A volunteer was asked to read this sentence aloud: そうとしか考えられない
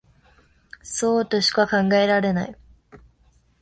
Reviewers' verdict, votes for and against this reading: accepted, 2, 0